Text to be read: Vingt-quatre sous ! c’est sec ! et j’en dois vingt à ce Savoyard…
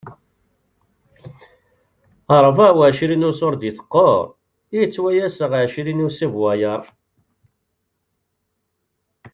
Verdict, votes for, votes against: rejected, 0, 2